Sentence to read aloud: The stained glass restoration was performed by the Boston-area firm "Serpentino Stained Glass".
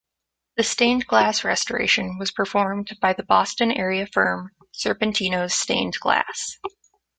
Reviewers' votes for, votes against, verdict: 2, 0, accepted